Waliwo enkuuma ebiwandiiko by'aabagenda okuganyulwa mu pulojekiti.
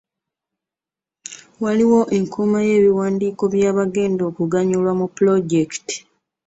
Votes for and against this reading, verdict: 0, 3, rejected